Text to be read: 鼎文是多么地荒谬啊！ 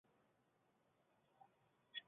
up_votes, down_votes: 1, 6